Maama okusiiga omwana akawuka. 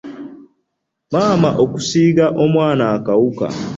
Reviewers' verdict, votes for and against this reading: accepted, 2, 0